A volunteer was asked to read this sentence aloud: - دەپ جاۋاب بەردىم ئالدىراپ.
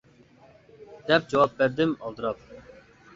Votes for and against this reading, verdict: 2, 0, accepted